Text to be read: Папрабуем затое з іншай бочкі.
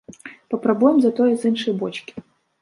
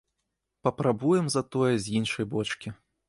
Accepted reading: second